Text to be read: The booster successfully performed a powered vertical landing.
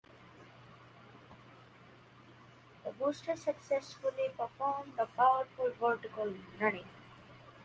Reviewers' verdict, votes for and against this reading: accepted, 2, 0